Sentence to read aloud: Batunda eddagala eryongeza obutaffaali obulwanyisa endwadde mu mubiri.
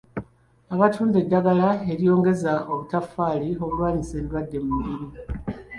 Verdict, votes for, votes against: rejected, 0, 2